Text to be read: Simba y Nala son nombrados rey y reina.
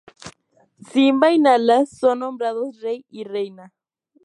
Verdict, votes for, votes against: accepted, 2, 0